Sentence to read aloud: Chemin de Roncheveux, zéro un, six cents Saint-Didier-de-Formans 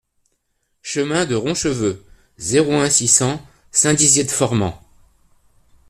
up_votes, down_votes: 0, 2